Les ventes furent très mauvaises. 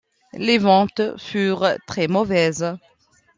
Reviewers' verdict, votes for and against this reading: accepted, 2, 0